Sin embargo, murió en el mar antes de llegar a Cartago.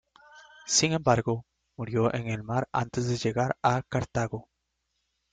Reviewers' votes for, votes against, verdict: 1, 2, rejected